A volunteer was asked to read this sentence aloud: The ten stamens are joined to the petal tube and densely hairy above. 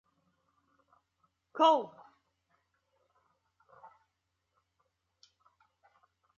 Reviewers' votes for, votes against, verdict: 0, 2, rejected